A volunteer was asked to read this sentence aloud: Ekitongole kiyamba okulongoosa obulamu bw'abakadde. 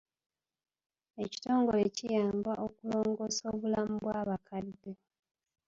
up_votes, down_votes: 2, 0